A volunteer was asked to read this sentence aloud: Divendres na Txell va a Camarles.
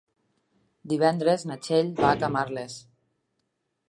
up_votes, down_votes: 3, 0